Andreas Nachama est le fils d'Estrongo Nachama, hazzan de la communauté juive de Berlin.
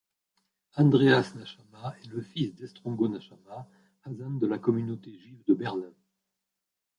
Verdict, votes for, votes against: rejected, 1, 2